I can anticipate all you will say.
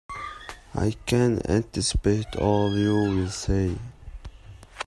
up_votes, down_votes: 2, 0